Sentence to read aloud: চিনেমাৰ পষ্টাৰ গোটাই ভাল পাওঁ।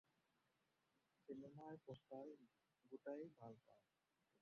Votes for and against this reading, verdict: 0, 4, rejected